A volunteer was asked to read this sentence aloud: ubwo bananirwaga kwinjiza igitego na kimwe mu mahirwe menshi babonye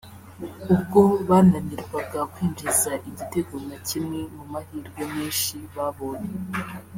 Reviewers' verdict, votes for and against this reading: accepted, 3, 1